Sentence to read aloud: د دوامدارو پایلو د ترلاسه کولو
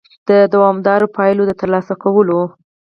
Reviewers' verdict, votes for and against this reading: rejected, 0, 4